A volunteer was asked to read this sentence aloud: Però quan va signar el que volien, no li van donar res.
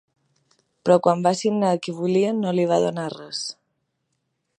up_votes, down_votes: 1, 2